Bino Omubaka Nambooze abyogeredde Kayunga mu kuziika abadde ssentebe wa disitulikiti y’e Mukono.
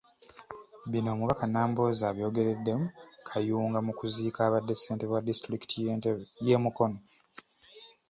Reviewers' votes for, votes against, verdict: 1, 2, rejected